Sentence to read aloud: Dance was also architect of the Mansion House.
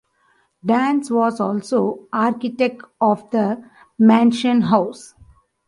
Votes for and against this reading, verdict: 2, 1, accepted